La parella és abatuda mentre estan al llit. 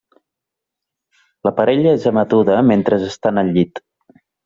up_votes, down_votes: 1, 2